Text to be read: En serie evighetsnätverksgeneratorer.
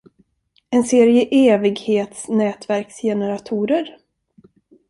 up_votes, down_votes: 2, 0